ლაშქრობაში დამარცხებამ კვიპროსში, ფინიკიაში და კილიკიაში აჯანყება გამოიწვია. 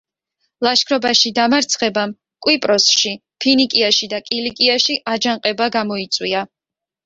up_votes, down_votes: 2, 0